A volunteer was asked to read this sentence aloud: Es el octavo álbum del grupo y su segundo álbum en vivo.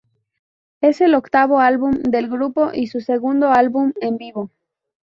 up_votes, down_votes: 0, 2